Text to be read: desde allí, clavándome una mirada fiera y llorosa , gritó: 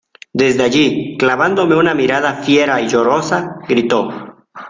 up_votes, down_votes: 2, 0